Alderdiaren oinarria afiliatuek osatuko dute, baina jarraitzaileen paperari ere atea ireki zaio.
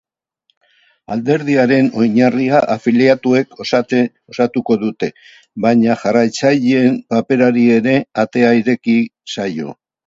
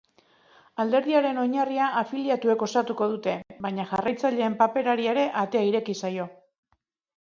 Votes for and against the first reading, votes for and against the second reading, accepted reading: 2, 6, 2, 0, second